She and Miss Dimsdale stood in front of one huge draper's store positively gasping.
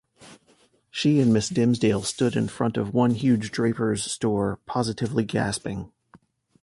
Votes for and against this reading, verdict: 2, 0, accepted